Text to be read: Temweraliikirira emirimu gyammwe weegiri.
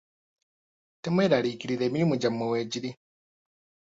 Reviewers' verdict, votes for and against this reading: accepted, 2, 0